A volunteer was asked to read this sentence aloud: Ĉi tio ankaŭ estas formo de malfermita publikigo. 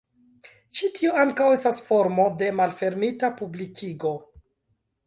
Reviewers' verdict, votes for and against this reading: accepted, 2, 0